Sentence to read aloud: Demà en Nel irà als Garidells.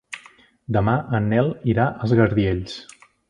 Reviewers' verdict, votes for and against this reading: rejected, 0, 2